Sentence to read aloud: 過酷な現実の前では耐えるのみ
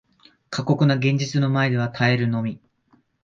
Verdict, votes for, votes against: rejected, 1, 2